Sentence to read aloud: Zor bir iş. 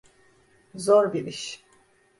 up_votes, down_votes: 2, 0